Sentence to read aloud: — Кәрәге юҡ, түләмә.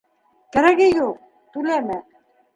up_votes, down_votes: 1, 2